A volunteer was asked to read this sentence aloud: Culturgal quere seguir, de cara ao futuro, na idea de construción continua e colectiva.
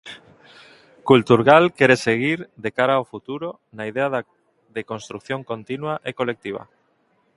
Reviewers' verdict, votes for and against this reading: rejected, 0, 2